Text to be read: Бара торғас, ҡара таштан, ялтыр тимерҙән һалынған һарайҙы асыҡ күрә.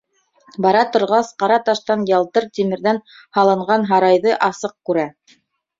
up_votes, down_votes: 2, 0